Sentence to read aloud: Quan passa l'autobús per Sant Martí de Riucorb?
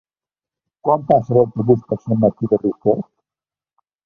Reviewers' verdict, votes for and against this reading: rejected, 1, 2